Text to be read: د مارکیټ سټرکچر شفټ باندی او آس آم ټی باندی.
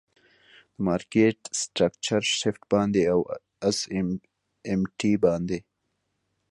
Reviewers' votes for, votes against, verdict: 2, 0, accepted